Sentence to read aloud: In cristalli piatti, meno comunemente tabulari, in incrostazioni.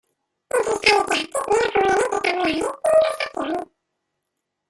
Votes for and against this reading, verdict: 0, 2, rejected